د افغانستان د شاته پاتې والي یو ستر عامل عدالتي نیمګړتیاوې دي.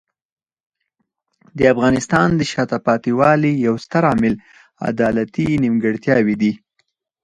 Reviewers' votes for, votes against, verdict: 0, 4, rejected